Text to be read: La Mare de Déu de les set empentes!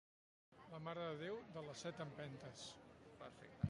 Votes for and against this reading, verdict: 1, 2, rejected